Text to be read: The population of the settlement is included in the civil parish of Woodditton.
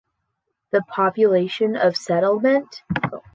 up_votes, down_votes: 0, 2